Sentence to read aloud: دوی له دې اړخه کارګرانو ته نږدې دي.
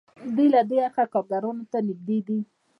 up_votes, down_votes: 2, 1